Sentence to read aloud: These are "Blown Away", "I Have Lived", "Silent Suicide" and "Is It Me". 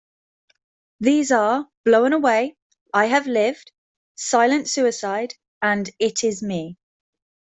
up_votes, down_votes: 0, 2